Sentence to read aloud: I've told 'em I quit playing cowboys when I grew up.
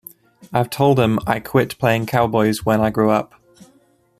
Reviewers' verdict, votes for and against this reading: accepted, 2, 0